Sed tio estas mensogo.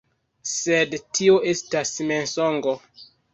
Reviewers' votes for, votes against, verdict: 2, 3, rejected